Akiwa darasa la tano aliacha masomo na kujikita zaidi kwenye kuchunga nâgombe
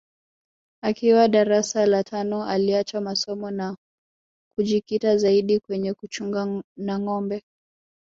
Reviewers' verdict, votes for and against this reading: accepted, 2, 1